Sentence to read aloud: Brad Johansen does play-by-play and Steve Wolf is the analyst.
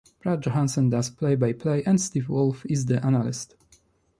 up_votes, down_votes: 3, 0